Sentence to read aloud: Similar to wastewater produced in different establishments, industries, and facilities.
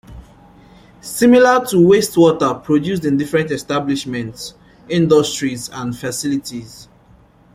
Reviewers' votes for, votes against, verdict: 2, 0, accepted